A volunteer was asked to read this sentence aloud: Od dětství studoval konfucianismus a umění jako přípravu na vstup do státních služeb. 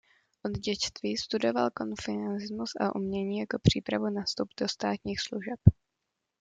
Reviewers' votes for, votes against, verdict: 0, 2, rejected